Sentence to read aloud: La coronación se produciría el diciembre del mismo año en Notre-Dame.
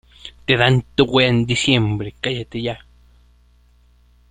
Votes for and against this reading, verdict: 0, 2, rejected